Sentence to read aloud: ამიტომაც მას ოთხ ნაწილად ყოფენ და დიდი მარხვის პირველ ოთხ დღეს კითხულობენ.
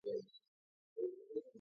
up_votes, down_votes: 0, 4